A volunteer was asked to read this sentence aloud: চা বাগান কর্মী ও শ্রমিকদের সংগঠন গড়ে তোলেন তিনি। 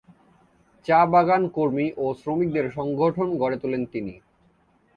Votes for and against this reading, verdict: 2, 0, accepted